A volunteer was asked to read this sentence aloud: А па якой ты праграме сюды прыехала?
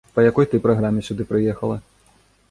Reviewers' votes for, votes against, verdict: 0, 2, rejected